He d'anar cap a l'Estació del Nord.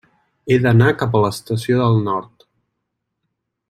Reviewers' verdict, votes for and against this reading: accepted, 3, 0